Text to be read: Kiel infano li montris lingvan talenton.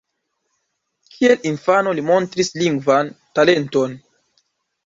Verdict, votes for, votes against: accepted, 2, 0